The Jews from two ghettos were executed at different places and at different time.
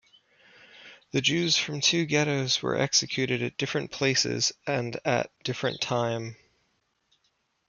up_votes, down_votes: 1, 2